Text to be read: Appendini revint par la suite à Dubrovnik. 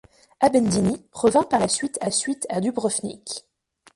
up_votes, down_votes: 0, 2